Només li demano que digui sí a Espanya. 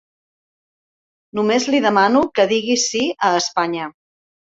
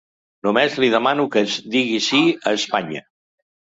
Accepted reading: first